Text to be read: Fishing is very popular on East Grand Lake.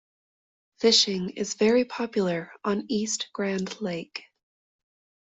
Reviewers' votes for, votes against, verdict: 2, 0, accepted